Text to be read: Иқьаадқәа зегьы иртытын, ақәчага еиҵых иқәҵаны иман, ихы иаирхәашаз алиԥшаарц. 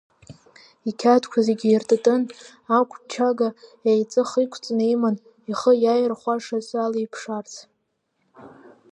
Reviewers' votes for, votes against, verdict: 2, 0, accepted